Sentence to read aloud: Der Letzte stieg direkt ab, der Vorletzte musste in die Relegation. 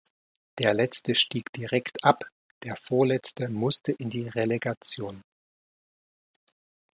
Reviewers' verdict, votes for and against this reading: accepted, 2, 0